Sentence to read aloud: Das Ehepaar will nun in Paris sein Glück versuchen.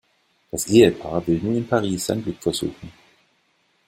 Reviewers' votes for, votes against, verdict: 2, 0, accepted